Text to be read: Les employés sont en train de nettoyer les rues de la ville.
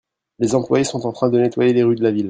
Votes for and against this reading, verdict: 1, 2, rejected